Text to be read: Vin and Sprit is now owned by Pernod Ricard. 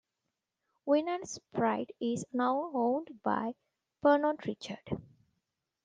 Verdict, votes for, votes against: rejected, 1, 2